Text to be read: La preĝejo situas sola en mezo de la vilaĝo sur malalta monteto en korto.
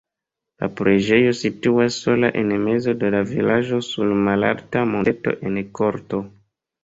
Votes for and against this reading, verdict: 2, 0, accepted